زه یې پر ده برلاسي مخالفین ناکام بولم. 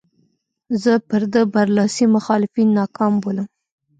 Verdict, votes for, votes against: rejected, 1, 2